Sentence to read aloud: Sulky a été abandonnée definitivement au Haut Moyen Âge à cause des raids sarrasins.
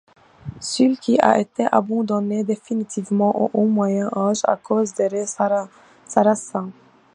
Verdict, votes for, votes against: accepted, 2, 1